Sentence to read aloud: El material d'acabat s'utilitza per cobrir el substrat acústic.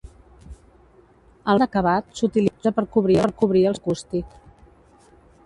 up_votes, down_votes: 0, 2